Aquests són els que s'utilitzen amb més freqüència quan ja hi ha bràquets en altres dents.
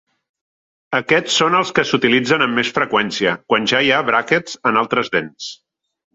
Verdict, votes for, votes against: accepted, 3, 0